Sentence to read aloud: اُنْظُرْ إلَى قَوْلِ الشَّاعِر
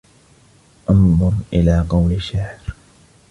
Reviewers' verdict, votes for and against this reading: rejected, 1, 2